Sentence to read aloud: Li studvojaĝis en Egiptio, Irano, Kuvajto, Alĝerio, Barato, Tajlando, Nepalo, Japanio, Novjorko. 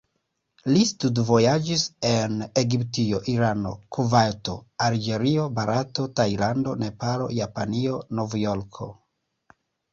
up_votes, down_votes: 2, 1